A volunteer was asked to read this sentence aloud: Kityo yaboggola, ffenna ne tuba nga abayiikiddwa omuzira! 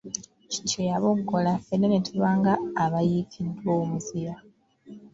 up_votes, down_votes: 2, 0